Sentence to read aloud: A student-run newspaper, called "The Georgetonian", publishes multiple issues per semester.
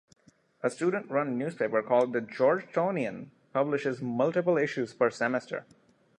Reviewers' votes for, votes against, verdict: 2, 1, accepted